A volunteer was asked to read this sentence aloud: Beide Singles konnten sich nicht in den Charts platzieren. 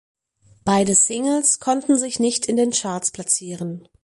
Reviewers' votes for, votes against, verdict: 4, 0, accepted